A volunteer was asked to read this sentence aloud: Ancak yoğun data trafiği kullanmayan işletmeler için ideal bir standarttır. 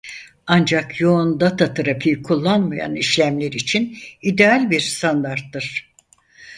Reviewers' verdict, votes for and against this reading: rejected, 0, 4